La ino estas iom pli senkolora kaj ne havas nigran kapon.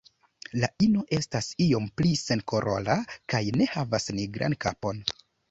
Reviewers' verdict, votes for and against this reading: rejected, 1, 3